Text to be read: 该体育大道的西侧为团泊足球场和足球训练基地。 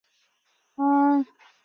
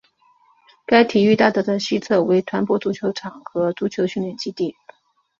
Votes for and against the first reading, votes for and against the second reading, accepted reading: 1, 2, 3, 1, second